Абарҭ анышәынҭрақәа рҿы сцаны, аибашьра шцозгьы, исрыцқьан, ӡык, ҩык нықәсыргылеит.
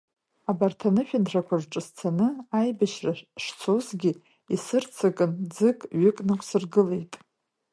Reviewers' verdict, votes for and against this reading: rejected, 1, 2